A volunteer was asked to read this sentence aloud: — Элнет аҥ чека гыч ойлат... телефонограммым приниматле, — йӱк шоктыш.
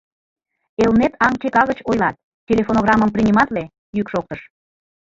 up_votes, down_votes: 2, 0